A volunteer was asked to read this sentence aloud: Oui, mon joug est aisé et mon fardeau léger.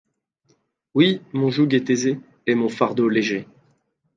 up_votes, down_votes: 0, 2